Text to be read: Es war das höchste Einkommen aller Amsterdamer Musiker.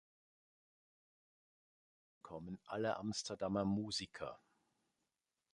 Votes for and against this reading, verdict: 0, 2, rejected